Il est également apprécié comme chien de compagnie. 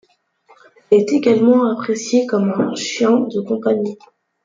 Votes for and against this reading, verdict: 0, 2, rejected